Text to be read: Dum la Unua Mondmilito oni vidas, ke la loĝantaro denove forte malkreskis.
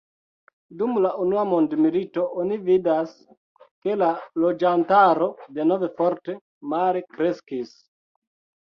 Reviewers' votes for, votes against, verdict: 1, 3, rejected